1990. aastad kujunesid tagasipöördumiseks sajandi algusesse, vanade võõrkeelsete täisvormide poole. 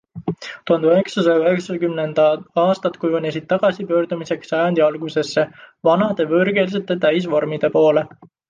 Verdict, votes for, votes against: rejected, 0, 2